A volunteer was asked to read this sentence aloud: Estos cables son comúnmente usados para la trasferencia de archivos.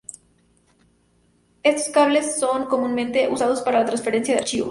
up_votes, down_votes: 0, 2